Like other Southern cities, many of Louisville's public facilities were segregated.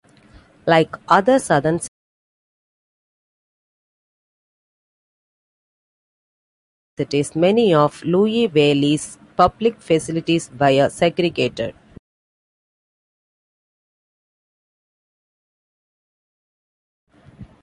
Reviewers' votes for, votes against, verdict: 0, 2, rejected